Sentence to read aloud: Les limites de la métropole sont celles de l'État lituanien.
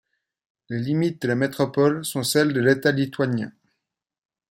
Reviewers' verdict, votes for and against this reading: accepted, 2, 0